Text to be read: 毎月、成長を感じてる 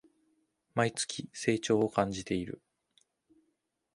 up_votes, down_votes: 2, 0